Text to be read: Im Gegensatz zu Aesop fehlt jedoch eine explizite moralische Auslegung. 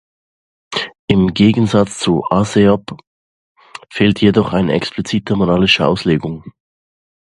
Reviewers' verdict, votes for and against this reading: rejected, 0, 2